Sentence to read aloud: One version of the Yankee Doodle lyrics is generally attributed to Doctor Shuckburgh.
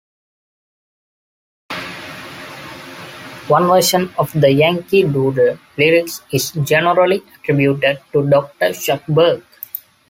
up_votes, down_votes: 2, 0